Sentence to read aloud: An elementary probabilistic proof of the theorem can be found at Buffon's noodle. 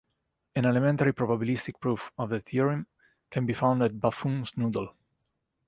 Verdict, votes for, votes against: accepted, 2, 0